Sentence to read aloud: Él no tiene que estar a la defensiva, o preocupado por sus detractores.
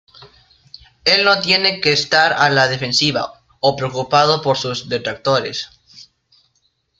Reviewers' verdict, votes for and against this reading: accepted, 2, 0